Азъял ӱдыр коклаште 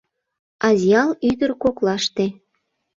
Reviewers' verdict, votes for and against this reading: accepted, 2, 0